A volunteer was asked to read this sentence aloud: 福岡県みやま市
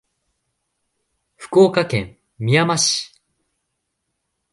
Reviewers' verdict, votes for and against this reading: accepted, 2, 0